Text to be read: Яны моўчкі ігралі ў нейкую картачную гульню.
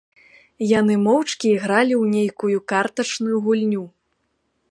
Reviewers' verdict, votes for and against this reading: accepted, 2, 0